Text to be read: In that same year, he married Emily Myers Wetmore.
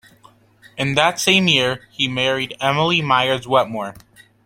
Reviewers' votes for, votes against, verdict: 2, 0, accepted